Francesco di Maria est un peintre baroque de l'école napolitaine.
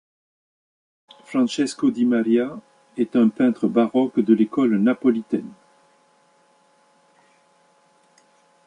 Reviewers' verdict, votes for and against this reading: accepted, 2, 0